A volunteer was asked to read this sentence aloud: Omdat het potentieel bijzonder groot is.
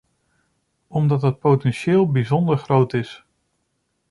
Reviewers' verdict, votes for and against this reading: accepted, 2, 0